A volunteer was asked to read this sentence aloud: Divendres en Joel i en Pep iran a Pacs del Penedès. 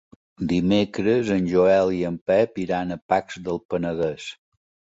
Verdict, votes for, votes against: rejected, 0, 2